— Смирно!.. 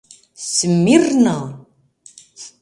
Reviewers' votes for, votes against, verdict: 2, 0, accepted